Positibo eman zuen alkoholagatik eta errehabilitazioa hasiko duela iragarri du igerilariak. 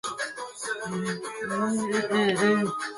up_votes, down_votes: 0, 2